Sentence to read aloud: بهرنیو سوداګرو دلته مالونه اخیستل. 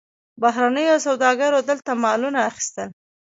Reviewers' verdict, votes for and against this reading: accepted, 2, 1